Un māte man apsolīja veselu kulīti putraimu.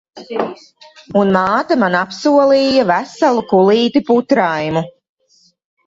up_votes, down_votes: 0, 2